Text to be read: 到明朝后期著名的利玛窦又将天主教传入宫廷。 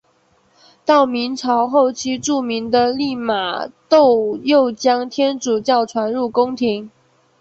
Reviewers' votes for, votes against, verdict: 4, 0, accepted